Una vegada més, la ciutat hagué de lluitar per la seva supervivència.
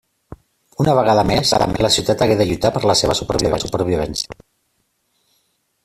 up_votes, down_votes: 0, 2